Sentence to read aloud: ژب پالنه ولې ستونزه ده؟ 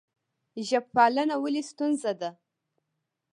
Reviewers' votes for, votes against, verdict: 2, 0, accepted